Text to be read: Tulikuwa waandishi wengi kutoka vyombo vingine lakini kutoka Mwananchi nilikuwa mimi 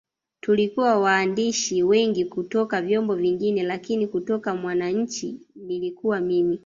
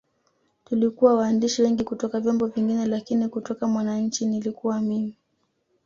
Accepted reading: second